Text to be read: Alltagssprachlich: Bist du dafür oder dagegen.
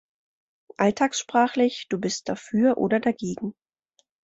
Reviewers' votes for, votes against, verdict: 1, 2, rejected